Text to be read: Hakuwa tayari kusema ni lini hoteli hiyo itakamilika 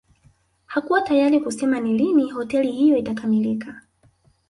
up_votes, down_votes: 1, 2